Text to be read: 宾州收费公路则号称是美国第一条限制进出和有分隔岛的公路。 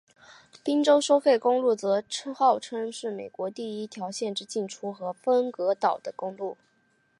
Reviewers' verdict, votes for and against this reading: accepted, 2, 0